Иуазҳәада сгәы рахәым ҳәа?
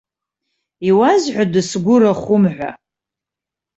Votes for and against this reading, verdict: 2, 0, accepted